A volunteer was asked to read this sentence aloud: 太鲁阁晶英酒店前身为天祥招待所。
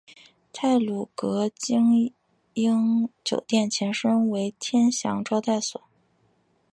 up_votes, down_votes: 2, 0